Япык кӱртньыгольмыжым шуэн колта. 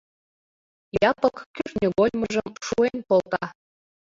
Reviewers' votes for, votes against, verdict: 1, 2, rejected